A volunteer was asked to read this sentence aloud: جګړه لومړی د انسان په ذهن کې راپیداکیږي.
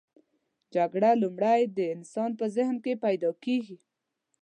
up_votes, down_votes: 0, 2